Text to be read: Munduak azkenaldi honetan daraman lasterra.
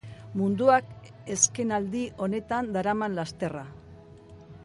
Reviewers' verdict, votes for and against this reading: accepted, 3, 1